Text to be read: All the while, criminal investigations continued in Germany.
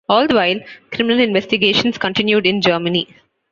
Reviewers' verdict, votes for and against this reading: accepted, 2, 0